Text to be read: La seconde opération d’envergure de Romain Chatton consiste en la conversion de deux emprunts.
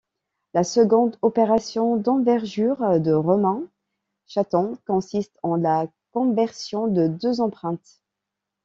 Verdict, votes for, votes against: rejected, 1, 2